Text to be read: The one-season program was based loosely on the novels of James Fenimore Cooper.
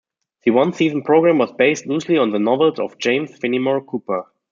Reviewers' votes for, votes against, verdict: 2, 0, accepted